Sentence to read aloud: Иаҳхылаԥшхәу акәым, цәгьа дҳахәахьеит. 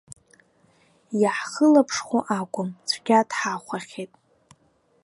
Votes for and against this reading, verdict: 2, 0, accepted